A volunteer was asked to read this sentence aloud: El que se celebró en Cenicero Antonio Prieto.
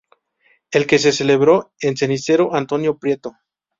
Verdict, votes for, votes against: accepted, 2, 0